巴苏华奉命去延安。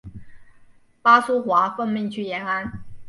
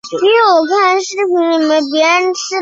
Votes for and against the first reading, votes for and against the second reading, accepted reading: 2, 0, 0, 2, first